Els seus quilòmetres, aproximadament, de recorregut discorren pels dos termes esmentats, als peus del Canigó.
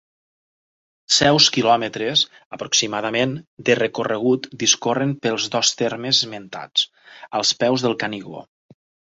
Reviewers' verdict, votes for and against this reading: rejected, 1, 2